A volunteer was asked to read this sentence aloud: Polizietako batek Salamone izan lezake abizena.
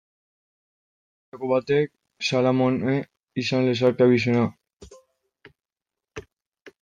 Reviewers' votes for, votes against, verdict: 0, 2, rejected